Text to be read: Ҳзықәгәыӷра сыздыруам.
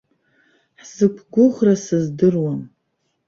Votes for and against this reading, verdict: 2, 0, accepted